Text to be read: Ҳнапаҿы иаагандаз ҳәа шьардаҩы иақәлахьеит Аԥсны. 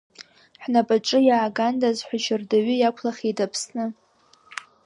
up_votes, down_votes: 1, 2